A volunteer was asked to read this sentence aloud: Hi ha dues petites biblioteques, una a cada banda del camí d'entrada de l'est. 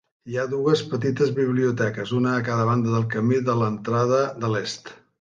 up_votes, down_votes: 0, 2